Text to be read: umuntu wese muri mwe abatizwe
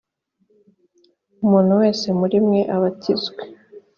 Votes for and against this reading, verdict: 2, 0, accepted